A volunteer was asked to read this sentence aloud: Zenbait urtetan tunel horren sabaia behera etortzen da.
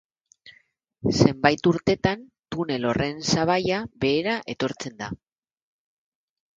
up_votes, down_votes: 1, 2